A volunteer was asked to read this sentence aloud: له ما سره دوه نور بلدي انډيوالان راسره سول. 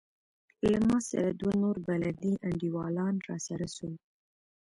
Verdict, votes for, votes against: accepted, 2, 0